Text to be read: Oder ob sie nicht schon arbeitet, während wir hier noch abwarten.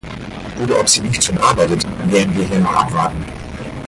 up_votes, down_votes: 0, 4